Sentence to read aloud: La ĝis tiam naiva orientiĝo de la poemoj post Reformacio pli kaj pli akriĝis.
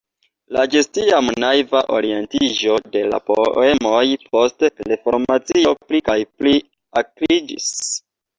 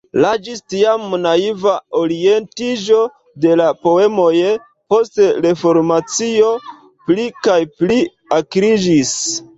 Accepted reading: first